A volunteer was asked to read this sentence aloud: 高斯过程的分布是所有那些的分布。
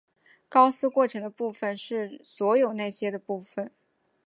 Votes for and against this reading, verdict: 0, 2, rejected